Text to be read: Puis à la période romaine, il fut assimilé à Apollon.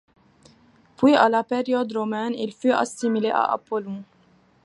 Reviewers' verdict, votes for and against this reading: accepted, 2, 0